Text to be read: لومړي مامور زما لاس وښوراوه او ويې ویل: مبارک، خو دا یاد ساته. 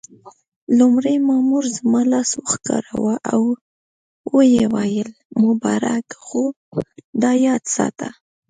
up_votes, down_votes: 2, 1